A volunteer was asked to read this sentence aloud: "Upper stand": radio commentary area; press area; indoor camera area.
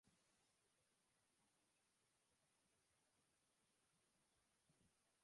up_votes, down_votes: 0, 2